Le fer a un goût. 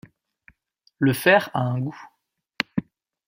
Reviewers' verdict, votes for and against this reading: accepted, 2, 0